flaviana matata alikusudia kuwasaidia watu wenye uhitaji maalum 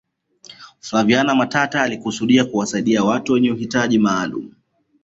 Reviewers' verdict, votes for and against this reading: accepted, 2, 1